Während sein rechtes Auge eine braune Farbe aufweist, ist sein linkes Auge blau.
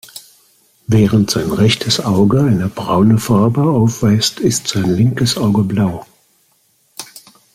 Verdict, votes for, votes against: accepted, 2, 0